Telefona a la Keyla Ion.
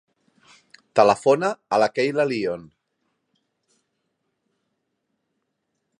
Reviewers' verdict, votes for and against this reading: rejected, 0, 2